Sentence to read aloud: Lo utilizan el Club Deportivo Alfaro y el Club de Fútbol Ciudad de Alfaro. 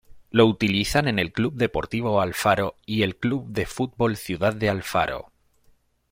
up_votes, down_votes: 1, 2